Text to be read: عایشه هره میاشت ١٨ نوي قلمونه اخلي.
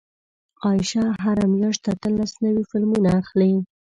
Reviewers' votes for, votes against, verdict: 0, 2, rejected